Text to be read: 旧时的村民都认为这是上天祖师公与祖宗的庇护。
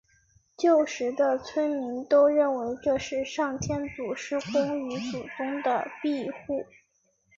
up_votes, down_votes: 2, 0